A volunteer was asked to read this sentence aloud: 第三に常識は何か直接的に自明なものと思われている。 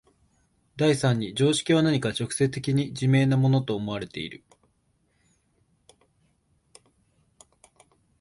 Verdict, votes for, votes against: accepted, 4, 1